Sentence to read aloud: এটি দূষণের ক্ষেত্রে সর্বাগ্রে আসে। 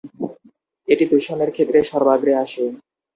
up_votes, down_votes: 2, 0